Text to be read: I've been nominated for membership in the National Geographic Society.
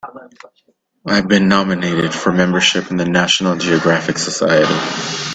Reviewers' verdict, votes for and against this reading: accepted, 2, 0